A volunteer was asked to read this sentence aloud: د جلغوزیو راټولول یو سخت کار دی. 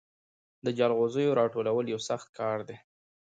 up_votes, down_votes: 2, 1